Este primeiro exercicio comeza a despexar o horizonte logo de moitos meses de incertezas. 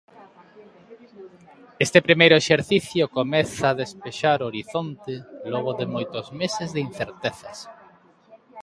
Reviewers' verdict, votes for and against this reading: accepted, 2, 0